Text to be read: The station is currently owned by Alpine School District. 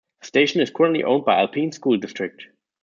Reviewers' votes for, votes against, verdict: 0, 2, rejected